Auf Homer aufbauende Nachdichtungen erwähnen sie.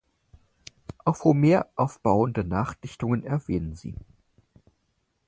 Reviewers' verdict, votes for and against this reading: accepted, 4, 0